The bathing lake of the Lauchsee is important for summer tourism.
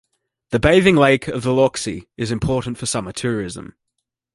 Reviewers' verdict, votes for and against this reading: accepted, 2, 0